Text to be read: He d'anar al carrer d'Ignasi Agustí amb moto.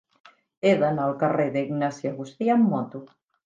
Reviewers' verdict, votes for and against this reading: accepted, 3, 0